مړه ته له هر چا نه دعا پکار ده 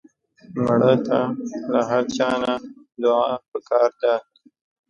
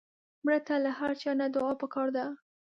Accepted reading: second